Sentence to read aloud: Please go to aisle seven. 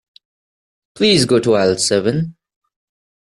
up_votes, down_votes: 2, 0